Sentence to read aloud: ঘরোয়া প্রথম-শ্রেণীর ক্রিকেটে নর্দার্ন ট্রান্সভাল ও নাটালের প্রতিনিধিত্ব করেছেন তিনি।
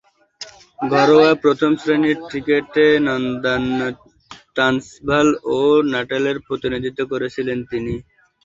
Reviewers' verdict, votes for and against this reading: rejected, 0, 2